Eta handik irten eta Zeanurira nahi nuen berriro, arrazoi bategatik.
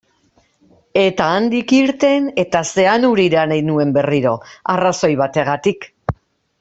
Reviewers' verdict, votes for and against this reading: accepted, 2, 0